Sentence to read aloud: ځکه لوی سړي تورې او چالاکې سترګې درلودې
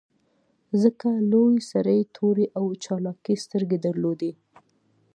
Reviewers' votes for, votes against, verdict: 2, 0, accepted